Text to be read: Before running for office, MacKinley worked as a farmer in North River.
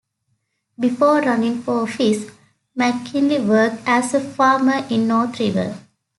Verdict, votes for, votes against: accepted, 2, 0